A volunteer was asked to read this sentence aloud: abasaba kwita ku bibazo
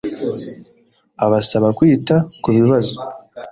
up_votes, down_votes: 3, 0